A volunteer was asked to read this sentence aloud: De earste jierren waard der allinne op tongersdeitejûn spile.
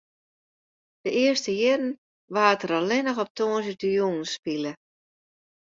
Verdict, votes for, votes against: rejected, 0, 2